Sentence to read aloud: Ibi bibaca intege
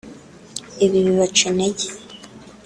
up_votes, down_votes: 4, 1